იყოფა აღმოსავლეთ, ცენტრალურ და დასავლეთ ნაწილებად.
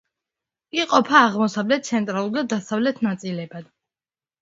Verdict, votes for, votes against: accepted, 2, 0